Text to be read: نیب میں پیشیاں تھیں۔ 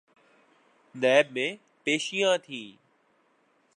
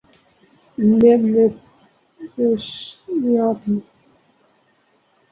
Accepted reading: first